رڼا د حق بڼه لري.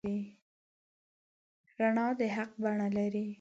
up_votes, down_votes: 6, 0